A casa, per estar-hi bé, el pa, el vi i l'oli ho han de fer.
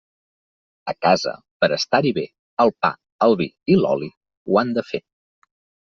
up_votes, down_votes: 3, 0